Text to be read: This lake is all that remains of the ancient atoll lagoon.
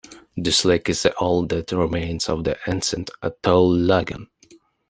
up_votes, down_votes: 1, 2